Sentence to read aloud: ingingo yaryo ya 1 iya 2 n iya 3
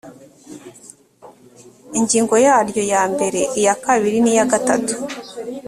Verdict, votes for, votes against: rejected, 0, 2